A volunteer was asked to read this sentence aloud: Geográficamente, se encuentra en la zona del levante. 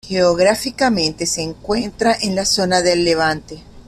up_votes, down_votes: 2, 0